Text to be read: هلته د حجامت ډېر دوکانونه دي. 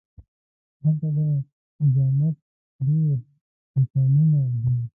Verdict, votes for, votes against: rejected, 1, 2